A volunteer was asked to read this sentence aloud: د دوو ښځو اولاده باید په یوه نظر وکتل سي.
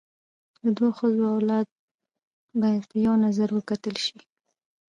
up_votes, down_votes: 1, 2